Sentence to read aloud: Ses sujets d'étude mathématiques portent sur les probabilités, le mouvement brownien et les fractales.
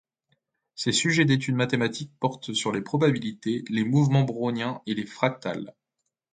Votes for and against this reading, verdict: 0, 2, rejected